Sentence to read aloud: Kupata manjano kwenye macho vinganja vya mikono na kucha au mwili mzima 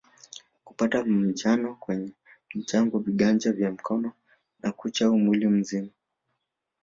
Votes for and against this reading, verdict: 2, 1, accepted